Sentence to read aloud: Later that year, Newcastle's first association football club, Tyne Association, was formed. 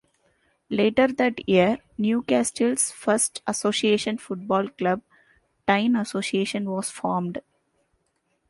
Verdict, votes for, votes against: accepted, 2, 1